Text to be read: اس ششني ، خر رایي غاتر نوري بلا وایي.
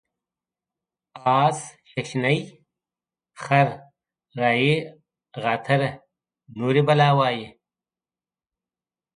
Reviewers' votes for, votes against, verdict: 2, 1, accepted